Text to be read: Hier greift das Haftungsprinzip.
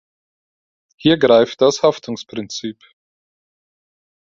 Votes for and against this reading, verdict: 4, 0, accepted